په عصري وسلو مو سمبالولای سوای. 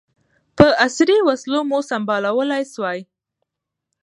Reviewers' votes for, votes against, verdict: 2, 1, accepted